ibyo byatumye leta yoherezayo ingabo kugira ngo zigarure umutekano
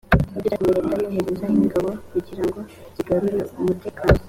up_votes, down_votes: 1, 2